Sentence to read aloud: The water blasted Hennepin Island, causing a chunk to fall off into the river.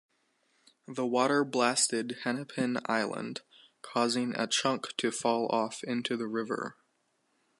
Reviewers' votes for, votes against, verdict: 2, 0, accepted